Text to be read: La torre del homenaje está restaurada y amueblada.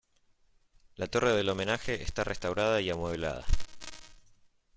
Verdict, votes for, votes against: accepted, 2, 0